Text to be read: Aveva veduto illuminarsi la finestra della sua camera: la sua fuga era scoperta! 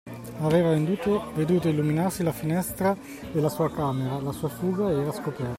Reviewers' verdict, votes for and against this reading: rejected, 0, 2